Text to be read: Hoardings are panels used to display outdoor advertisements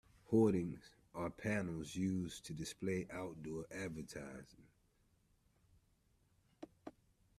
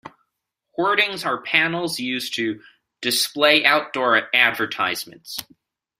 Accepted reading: second